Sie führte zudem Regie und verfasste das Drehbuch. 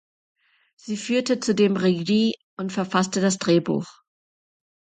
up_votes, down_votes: 2, 0